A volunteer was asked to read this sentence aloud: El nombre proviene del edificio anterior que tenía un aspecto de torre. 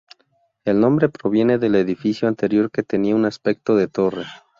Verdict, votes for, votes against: accepted, 2, 0